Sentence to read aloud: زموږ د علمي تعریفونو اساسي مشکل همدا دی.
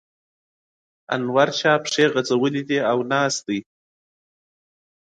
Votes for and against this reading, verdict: 0, 2, rejected